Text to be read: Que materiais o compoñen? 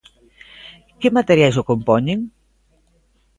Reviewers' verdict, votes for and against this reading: accepted, 2, 0